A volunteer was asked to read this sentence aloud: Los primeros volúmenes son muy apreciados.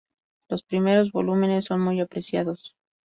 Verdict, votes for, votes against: accepted, 2, 0